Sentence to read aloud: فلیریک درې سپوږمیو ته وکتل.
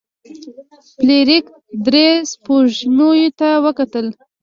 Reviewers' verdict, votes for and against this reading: accepted, 2, 1